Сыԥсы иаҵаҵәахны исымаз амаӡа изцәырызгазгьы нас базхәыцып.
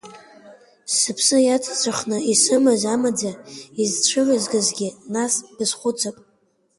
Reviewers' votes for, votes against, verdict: 1, 2, rejected